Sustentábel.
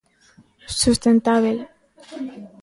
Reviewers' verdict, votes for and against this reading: accepted, 2, 0